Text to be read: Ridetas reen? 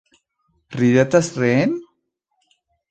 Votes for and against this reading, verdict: 2, 0, accepted